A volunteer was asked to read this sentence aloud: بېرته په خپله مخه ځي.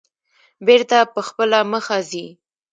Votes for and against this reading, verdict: 0, 2, rejected